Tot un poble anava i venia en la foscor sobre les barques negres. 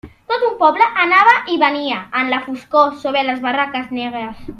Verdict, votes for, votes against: rejected, 0, 2